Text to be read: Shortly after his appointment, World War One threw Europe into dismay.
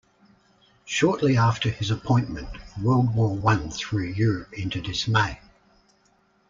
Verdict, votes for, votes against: accepted, 2, 0